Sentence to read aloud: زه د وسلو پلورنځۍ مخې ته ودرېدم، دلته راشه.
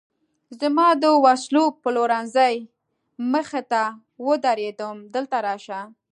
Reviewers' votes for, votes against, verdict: 1, 2, rejected